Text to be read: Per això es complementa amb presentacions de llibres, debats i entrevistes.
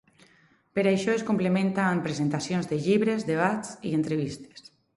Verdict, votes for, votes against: accepted, 2, 0